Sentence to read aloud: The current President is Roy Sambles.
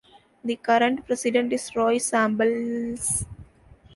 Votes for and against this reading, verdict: 1, 2, rejected